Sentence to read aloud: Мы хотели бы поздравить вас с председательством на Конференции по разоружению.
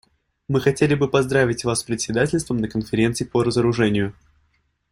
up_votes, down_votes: 2, 0